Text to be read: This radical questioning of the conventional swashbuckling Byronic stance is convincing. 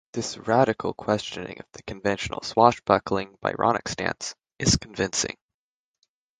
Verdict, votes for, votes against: accepted, 6, 0